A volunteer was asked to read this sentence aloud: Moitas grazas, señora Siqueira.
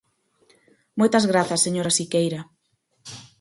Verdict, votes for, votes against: accepted, 4, 0